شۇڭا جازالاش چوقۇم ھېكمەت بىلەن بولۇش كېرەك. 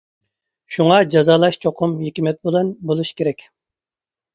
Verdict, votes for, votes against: accepted, 2, 0